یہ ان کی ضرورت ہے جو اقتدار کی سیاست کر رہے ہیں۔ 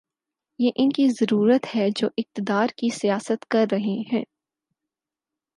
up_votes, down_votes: 4, 0